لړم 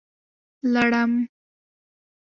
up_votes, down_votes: 0, 2